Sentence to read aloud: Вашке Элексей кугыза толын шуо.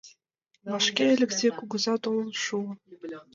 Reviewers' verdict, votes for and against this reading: accepted, 2, 0